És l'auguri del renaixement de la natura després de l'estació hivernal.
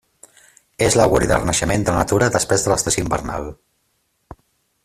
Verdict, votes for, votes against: rejected, 1, 2